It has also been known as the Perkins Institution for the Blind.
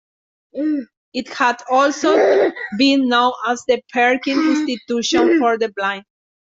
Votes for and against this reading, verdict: 0, 2, rejected